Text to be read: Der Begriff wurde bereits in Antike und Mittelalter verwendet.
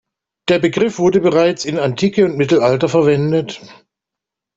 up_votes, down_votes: 2, 0